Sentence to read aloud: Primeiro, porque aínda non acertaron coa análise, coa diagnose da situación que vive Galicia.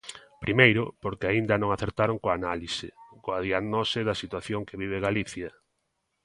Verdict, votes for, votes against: accepted, 2, 0